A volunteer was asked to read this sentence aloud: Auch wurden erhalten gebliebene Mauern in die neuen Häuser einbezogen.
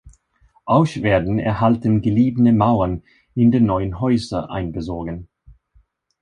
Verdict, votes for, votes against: rejected, 0, 2